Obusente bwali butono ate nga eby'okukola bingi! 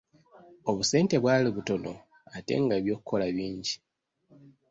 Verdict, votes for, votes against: accepted, 3, 0